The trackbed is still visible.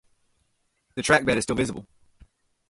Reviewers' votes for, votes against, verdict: 2, 0, accepted